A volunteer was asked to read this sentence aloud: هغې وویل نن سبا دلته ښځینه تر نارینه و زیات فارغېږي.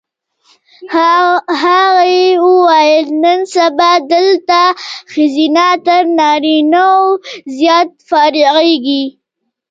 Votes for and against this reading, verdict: 2, 1, accepted